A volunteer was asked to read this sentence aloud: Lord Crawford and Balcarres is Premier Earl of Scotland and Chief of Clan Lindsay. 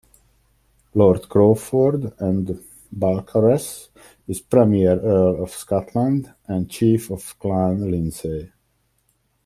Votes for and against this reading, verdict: 2, 0, accepted